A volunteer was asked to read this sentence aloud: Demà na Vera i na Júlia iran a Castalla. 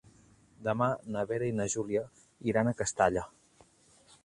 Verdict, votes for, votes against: accepted, 3, 0